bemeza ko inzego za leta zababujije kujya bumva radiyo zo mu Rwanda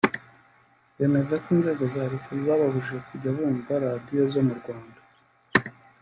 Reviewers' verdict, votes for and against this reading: rejected, 1, 2